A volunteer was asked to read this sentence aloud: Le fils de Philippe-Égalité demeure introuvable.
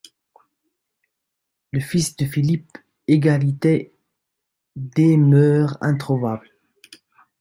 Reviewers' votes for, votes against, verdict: 1, 3, rejected